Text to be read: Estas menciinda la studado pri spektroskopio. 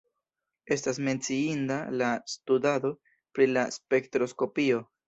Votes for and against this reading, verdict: 2, 0, accepted